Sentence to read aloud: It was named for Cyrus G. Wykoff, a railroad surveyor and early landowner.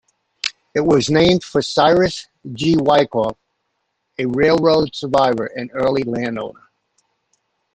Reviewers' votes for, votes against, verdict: 1, 2, rejected